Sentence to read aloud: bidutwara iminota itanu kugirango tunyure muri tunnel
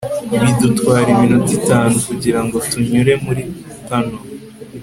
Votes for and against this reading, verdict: 2, 0, accepted